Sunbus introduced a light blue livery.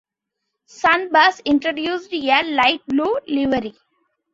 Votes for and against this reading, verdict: 2, 1, accepted